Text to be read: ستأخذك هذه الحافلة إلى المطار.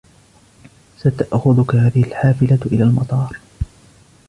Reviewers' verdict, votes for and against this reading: accepted, 3, 1